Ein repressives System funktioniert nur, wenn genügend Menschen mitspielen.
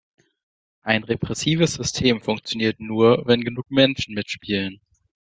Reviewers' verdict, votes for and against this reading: rejected, 0, 2